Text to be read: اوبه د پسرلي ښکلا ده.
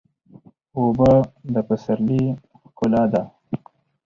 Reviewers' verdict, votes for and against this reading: accepted, 4, 0